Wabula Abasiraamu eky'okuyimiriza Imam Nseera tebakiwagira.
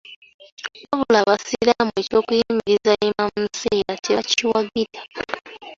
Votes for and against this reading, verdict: 3, 1, accepted